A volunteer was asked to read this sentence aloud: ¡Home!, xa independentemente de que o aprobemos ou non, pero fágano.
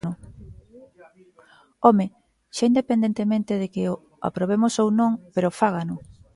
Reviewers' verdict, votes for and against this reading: rejected, 1, 2